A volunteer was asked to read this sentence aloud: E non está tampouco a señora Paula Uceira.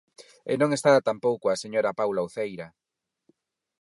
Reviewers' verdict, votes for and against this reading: rejected, 2, 4